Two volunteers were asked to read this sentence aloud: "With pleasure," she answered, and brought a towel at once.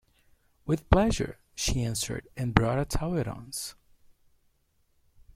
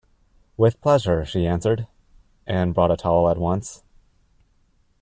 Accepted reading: second